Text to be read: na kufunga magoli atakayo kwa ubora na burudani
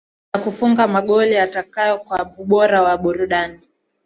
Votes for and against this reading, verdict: 0, 2, rejected